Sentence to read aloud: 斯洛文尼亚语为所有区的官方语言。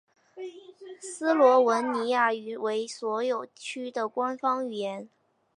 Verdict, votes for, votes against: accepted, 5, 0